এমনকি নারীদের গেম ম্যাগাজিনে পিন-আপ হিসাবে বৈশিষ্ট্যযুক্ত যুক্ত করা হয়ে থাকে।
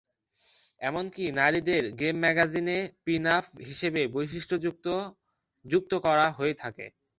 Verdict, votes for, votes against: accepted, 2, 0